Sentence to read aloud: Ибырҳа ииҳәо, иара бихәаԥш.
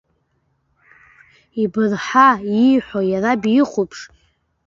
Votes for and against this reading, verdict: 2, 0, accepted